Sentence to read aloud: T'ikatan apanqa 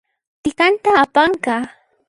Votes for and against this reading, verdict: 1, 2, rejected